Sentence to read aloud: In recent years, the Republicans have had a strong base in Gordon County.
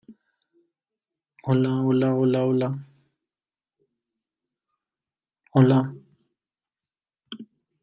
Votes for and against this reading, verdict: 0, 2, rejected